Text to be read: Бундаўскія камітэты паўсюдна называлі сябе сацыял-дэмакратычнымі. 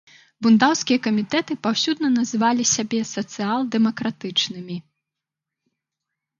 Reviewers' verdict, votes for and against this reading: rejected, 0, 2